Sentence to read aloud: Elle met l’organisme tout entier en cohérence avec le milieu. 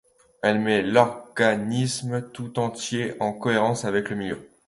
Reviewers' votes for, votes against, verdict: 0, 2, rejected